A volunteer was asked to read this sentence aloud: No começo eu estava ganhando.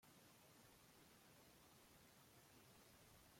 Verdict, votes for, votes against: rejected, 0, 2